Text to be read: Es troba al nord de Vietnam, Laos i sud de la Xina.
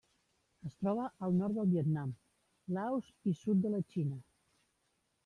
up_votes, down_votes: 1, 2